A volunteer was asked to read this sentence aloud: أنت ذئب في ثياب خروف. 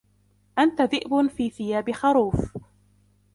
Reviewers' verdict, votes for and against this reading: accepted, 2, 1